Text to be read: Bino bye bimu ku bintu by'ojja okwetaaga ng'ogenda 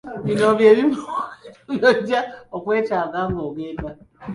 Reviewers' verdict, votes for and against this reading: rejected, 0, 2